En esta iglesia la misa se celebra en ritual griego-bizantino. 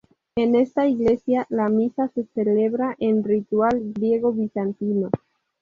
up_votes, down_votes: 2, 2